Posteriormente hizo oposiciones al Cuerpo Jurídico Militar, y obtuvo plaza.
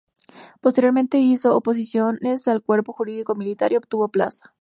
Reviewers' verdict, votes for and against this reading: accepted, 2, 0